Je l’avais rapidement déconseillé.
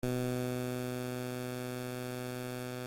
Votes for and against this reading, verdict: 0, 2, rejected